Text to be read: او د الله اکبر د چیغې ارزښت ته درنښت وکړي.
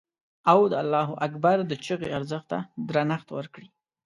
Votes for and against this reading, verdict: 2, 0, accepted